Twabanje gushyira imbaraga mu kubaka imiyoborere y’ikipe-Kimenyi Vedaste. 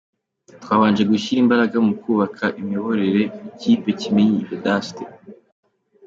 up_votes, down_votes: 3, 0